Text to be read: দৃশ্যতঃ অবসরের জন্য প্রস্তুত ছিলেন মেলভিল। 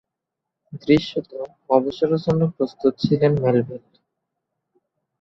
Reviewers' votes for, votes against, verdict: 1, 2, rejected